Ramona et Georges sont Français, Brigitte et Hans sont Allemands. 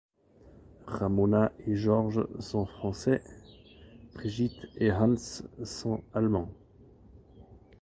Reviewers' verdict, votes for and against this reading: rejected, 0, 2